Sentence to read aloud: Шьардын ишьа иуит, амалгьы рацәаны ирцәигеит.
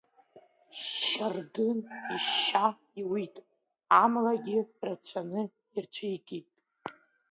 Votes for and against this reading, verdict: 2, 0, accepted